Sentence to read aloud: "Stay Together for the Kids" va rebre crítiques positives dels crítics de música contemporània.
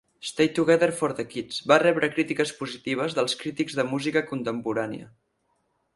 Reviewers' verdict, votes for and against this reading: accepted, 4, 0